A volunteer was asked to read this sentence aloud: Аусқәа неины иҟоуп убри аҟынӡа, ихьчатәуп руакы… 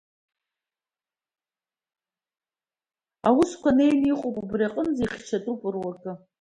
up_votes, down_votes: 2, 0